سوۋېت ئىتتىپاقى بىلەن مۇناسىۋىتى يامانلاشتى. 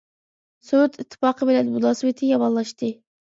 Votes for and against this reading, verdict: 1, 2, rejected